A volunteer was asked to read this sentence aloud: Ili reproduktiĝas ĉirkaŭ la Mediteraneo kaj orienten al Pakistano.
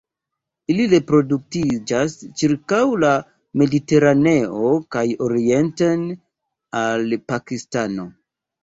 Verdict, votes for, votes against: rejected, 0, 2